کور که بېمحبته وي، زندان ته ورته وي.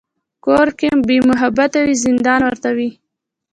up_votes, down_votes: 1, 2